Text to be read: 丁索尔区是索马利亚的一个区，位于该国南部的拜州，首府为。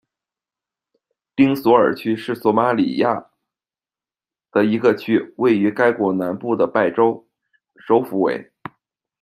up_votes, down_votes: 2, 0